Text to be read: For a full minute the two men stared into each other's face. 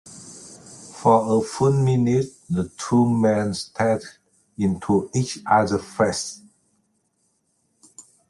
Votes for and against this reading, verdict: 0, 2, rejected